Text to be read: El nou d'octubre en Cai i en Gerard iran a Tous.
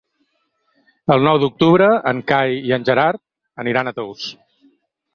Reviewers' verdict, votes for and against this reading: rejected, 2, 4